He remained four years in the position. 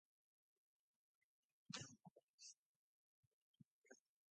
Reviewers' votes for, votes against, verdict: 0, 2, rejected